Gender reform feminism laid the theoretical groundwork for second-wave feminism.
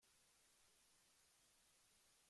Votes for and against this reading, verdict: 0, 2, rejected